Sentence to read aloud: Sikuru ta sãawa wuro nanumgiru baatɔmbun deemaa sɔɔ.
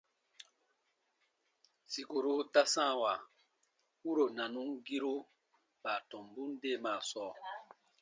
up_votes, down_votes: 2, 0